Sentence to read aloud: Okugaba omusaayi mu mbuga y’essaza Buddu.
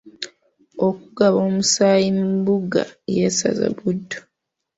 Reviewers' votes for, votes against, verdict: 1, 2, rejected